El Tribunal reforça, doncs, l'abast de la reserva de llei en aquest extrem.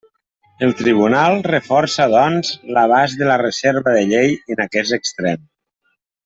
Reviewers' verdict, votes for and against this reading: rejected, 1, 2